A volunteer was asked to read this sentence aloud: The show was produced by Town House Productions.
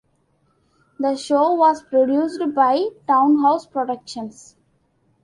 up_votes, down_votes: 2, 0